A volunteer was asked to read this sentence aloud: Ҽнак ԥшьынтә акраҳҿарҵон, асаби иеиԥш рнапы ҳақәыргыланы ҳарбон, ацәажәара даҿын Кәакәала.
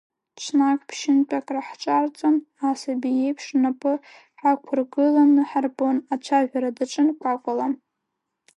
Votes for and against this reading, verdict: 2, 0, accepted